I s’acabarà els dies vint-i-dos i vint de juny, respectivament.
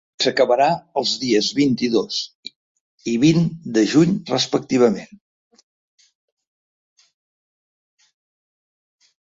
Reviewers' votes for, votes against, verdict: 1, 2, rejected